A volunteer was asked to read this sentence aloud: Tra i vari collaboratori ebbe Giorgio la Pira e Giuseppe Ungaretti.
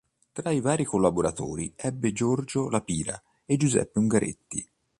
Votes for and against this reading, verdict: 2, 0, accepted